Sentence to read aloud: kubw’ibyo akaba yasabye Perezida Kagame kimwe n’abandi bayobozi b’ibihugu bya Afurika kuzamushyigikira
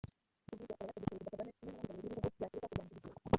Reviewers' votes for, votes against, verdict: 0, 3, rejected